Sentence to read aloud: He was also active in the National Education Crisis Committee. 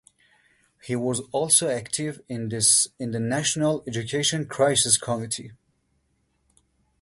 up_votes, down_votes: 0, 2